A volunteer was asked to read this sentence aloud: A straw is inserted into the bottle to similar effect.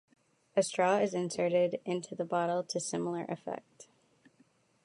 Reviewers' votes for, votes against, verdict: 2, 0, accepted